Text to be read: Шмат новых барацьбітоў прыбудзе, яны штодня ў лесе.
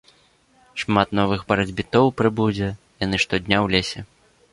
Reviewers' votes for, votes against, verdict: 2, 0, accepted